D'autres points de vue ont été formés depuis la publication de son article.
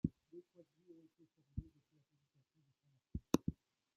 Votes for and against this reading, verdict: 0, 2, rejected